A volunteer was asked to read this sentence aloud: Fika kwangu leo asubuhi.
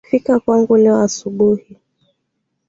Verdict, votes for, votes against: accepted, 2, 0